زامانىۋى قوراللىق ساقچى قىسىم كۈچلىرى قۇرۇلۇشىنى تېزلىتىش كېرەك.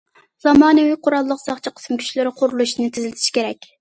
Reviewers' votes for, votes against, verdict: 2, 0, accepted